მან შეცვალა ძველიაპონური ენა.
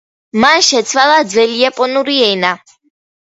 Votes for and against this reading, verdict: 2, 0, accepted